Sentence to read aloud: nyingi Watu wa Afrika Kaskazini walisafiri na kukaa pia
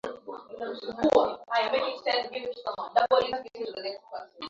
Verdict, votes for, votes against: rejected, 0, 2